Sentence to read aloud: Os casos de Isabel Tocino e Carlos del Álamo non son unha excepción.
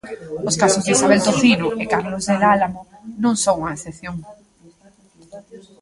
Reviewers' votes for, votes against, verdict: 1, 2, rejected